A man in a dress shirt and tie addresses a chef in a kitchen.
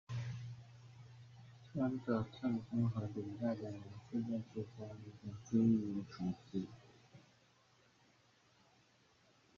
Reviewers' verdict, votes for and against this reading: rejected, 0, 2